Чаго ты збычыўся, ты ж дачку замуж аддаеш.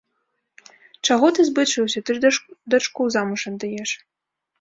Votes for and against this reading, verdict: 0, 2, rejected